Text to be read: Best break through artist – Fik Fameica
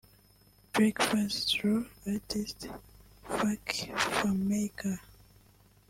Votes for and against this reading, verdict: 2, 3, rejected